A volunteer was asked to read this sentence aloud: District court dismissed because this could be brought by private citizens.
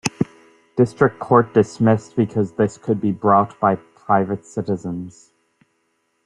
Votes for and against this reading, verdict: 2, 0, accepted